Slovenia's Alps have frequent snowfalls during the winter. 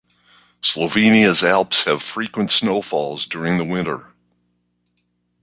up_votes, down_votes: 2, 0